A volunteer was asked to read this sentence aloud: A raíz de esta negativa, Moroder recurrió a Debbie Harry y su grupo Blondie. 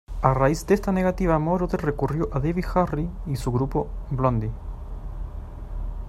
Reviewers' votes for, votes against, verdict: 2, 0, accepted